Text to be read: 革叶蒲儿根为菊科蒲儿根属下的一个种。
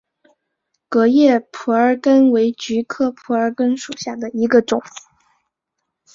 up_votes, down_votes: 2, 0